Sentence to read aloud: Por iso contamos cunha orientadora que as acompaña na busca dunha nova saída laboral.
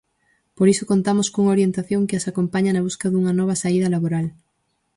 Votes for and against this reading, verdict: 0, 4, rejected